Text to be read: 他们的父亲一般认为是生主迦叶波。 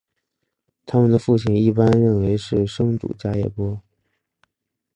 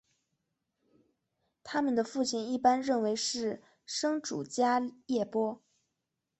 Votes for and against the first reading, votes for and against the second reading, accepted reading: 3, 0, 0, 2, first